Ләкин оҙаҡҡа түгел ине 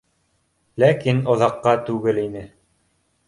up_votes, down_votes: 2, 0